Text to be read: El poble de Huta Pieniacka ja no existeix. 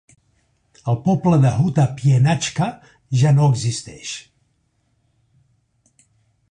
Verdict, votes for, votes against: rejected, 0, 2